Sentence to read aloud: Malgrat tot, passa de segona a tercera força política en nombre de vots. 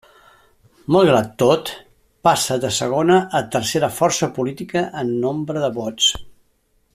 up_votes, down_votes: 3, 0